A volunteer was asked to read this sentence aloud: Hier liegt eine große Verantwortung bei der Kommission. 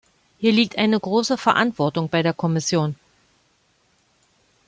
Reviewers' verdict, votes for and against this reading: accepted, 2, 0